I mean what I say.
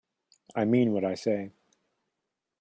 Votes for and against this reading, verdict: 2, 0, accepted